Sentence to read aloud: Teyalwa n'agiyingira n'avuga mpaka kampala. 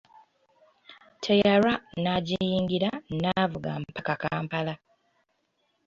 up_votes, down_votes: 2, 0